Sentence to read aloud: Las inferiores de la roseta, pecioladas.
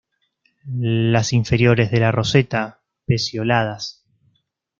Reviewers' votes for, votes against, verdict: 2, 0, accepted